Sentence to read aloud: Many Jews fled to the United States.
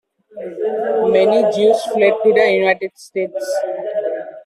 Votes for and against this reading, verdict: 2, 1, accepted